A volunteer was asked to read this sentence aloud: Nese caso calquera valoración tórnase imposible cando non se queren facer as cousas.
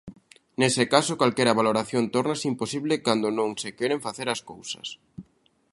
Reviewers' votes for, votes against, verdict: 2, 0, accepted